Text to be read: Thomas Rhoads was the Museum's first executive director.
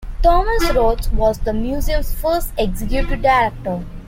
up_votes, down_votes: 2, 1